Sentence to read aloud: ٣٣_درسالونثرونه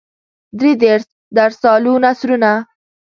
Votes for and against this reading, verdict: 0, 2, rejected